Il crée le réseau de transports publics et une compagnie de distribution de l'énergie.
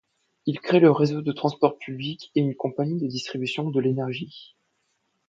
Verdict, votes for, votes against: accepted, 2, 0